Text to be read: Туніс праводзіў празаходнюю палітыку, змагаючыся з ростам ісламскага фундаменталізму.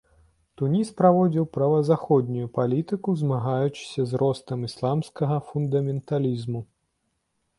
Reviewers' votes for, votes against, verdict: 1, 2, rejected